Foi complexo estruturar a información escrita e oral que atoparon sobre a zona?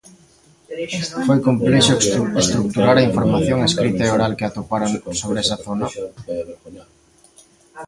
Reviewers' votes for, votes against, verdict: 0, 2, rejected